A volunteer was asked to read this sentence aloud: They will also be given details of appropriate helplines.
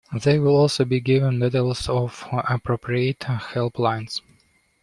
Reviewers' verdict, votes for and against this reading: accepted, 2, 1